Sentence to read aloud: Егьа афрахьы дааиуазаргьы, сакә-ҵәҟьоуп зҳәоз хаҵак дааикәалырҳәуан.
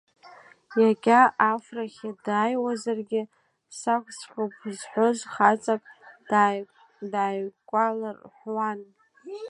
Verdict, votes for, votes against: rejected, 0, 2